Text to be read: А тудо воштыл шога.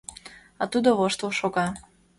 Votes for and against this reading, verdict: 2, 0, accepted